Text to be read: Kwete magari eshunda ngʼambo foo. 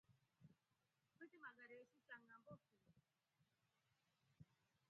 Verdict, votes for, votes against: rejected, 1, 4